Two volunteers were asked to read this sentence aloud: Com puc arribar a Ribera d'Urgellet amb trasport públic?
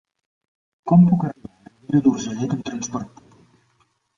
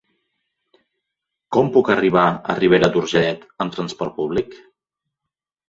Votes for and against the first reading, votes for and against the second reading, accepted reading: 0, 2, 2, 0, second